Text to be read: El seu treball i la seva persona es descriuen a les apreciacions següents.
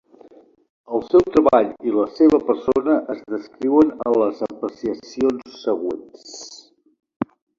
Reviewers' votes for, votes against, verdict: 0, 2, rejected